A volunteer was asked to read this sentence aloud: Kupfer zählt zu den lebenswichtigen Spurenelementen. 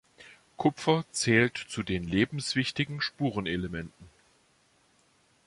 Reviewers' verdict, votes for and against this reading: accepted, 2, 0